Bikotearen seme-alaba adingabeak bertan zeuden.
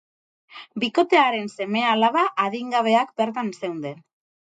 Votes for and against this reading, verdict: 2, 2, rejected